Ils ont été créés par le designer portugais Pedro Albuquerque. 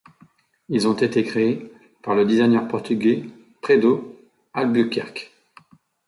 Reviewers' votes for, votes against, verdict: 0, 2, rejected